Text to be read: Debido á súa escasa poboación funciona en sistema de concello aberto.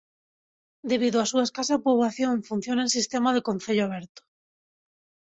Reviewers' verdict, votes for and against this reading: accepted, 2, 0